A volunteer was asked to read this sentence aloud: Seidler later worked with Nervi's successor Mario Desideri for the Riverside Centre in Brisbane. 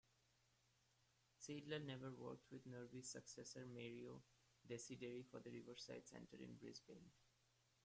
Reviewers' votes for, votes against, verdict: 1, 2, rejected